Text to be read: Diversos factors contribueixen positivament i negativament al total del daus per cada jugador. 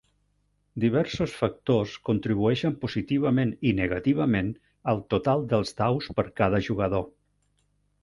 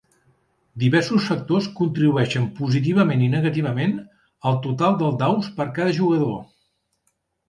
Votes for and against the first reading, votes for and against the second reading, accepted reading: 1, 2, 3, 0, second